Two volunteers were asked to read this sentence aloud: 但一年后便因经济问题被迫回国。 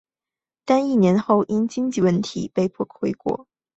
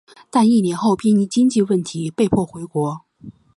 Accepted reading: second